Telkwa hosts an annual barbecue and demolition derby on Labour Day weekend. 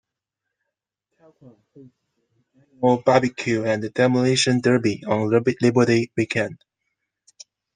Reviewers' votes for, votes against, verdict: 0, 2, rejected